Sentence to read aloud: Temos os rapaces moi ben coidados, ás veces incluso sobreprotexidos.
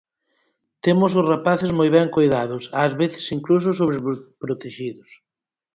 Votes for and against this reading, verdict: 0, 6, rejected